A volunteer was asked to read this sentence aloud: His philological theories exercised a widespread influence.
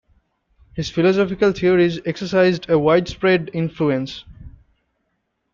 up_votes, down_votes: 0, 2